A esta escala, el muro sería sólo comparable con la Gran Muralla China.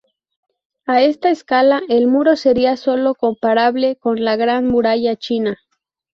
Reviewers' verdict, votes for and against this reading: accepted, 2, 0